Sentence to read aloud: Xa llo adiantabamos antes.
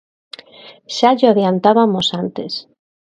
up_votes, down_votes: 0, 2